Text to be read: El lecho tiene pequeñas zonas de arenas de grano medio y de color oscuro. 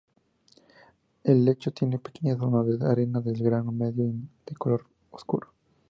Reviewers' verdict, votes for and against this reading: accepted, 2, 0